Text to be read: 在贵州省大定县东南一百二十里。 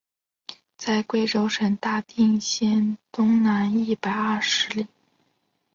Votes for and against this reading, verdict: 4, 0, accepted